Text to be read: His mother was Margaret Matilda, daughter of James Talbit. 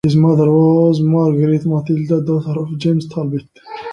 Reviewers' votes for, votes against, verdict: 2, 1, accepted